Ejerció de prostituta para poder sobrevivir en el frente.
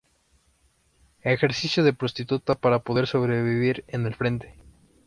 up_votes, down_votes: 0, 2